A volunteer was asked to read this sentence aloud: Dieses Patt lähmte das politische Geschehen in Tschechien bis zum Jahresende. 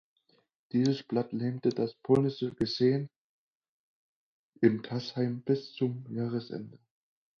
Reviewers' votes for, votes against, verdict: 0, 4, rejected